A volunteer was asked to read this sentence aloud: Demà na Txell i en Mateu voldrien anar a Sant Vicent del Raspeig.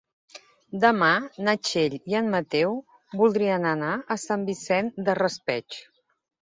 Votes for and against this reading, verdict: 1, 2, rejected